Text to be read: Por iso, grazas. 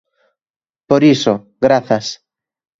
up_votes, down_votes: 3, 0